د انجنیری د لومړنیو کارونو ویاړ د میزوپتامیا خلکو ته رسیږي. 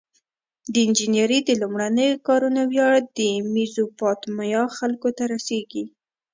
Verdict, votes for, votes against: accepted, 2, 0